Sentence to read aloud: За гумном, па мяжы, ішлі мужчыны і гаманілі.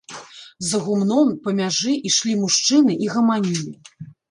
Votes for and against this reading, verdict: 0, 2, rejected